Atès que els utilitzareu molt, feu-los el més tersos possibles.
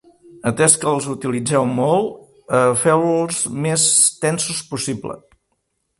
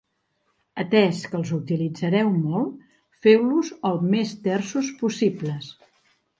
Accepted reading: second